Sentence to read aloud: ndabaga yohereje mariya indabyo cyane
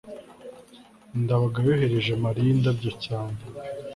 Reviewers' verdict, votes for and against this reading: accepted, 3, 0